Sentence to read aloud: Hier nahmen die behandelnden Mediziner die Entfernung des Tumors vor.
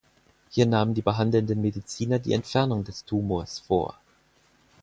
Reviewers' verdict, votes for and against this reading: accepted, 4, 0